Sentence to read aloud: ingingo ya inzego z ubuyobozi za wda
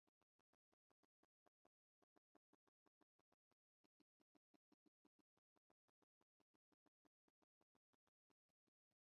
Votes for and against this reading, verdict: 0, 2, rejected